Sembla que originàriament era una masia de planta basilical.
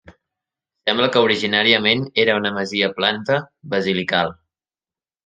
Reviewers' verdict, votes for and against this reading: rejected, 1, 2